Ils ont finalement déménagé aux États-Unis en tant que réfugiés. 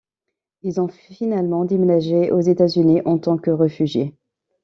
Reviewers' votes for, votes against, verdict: 1, 3, rejected